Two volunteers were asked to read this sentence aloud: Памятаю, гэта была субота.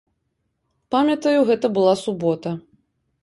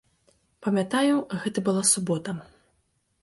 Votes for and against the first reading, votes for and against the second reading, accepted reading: 2, 0, 1, 2, first